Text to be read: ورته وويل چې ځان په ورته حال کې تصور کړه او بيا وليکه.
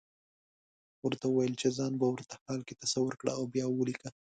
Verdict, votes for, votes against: accepted, 2, 0